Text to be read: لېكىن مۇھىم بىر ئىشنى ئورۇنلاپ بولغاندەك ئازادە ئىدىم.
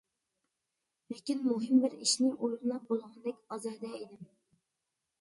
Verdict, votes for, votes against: rejected, 0, 2